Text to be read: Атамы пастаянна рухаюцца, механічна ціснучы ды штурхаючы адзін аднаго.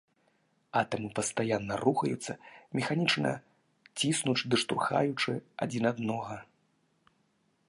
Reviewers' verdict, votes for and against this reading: accepted, 2, 0